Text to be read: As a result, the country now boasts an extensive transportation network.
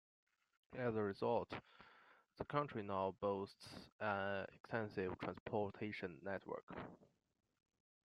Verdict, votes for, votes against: rejected, 1, 2